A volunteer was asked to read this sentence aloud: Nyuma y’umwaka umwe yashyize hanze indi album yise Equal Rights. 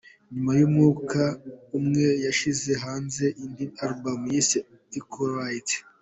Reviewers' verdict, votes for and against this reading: rejected, 1, 2